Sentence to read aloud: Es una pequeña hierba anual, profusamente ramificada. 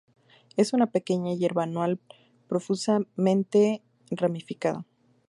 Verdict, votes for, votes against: accepted, 2, 0